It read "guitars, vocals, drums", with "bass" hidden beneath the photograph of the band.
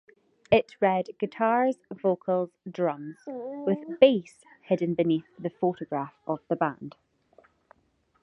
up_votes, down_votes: 2, 0